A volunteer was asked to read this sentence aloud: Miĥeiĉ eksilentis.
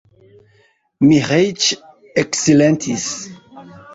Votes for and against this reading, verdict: 2, 0, accepted